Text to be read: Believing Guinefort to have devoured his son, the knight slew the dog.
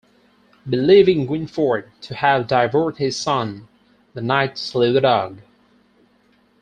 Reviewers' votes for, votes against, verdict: 2, 4, rejected